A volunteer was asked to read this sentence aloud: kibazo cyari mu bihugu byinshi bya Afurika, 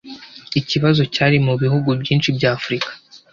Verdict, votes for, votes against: rejected, 1, 2